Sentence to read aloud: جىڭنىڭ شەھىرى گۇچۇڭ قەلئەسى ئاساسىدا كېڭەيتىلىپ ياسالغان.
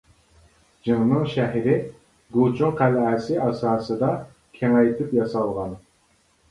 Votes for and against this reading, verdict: 0, 2, rejected